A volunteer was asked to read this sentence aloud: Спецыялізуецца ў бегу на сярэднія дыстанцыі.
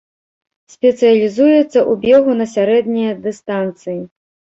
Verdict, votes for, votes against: accepted, 2, 0